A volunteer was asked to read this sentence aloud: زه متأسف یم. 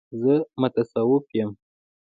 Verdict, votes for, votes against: rejected, 0, 2